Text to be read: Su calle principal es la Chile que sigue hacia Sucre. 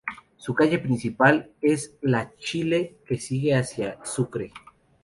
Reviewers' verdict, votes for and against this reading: accepted, 2, 0